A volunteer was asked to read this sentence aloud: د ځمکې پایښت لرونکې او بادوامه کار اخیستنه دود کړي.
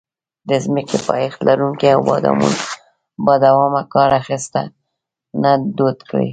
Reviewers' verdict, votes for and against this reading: rejected, 1, 2